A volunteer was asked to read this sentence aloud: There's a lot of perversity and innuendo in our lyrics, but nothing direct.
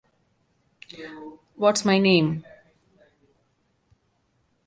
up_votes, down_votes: 0, 2